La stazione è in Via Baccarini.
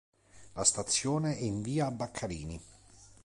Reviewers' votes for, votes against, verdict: 2, 0, accepted